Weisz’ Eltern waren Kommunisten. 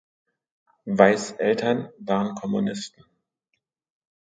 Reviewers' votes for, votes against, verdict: 2, 0, accepted